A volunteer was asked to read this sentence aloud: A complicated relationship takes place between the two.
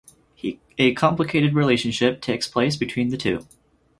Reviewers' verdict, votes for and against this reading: rejected, 2, 4